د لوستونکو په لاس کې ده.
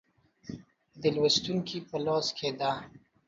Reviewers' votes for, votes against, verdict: 2, 0, accepted